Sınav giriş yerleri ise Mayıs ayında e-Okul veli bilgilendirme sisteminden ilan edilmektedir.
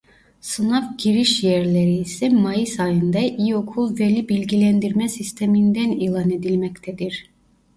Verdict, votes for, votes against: rejected, 0, 2